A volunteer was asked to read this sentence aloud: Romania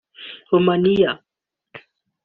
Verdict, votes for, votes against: rejected, 1, 2